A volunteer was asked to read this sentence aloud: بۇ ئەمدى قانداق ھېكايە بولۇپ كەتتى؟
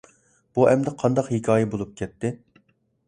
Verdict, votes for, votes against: accepted, 2, 0